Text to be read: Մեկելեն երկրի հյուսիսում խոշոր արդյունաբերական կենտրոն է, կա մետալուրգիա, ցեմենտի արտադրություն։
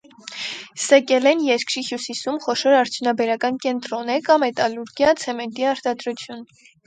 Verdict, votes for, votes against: rejected, 0, 4